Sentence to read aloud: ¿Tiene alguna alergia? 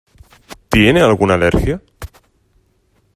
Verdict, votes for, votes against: accepted, 6, 0